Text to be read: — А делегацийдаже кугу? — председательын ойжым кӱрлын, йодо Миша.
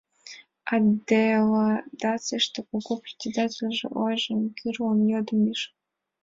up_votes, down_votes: 0, 2